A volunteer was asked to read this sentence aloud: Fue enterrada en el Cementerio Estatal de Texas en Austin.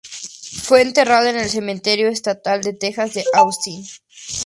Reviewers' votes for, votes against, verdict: 0, 2, rejected